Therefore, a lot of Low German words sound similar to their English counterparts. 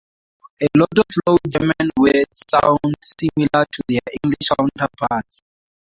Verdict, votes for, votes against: rejected, 0, 4